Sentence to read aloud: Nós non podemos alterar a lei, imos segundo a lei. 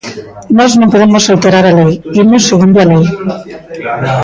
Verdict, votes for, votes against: rejected, 1, 2